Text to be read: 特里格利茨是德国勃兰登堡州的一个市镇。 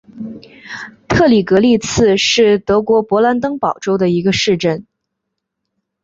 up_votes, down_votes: 2, 1